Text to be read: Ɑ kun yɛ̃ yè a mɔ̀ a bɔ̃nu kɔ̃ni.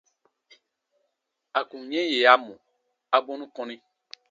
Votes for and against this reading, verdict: 0, 2, rejected